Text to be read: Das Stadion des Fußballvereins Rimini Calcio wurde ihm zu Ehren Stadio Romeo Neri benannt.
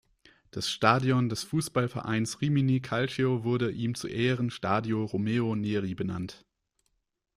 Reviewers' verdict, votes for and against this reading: accepted, 2, 0